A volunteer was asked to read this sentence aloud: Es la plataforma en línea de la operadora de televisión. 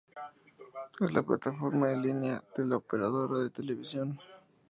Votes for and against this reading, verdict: 2, 0, accepted